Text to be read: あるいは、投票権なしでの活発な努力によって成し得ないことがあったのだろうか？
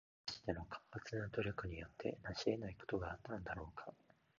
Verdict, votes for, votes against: rejected, 1, 2